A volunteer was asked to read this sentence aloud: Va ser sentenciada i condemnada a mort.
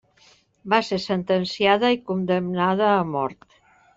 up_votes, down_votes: 3, 0